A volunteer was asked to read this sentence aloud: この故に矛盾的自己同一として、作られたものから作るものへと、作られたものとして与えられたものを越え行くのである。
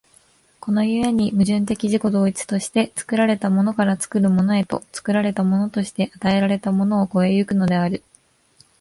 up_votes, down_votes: 2, 0